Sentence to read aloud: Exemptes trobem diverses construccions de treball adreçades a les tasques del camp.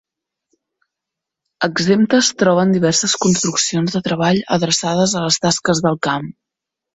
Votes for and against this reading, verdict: 1, 2, rejected